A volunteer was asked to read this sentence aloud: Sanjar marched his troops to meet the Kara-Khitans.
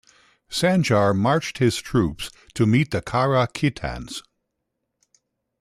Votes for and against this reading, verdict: 2, 0, accepted